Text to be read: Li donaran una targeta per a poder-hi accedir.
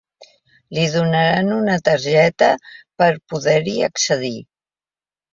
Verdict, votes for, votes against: rejected, 1, 2